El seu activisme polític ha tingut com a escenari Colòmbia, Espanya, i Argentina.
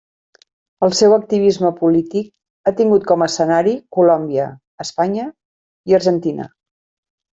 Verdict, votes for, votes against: accepted, 3, 0